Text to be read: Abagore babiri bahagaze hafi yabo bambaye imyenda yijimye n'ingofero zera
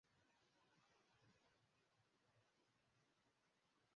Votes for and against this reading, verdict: 0, 2, rejected